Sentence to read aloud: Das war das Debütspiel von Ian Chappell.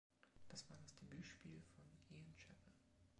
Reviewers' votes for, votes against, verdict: 0, 2, rejected